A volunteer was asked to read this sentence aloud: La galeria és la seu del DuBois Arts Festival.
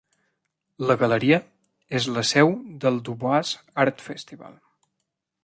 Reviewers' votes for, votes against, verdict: 2, 0, accepted